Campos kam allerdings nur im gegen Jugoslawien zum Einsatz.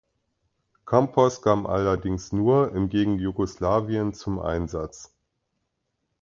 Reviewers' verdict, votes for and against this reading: accepted, 2, 0